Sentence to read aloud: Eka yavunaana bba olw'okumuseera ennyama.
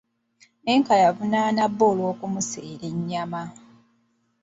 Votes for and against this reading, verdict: 0, 2, rejected